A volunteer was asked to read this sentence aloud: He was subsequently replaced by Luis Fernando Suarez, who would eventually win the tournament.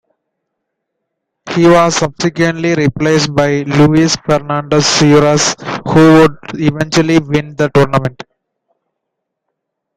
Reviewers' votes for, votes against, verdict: 2, 1, accepted